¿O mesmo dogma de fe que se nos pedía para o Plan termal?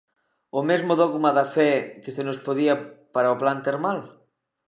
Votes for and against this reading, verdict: 0, 2, rejected